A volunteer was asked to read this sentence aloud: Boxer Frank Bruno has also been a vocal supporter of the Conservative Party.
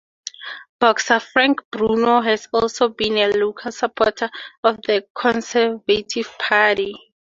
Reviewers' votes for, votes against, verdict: 2, 2, rejected